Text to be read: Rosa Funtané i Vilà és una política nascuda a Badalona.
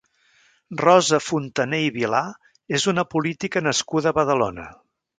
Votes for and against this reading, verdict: 1, 2, rejected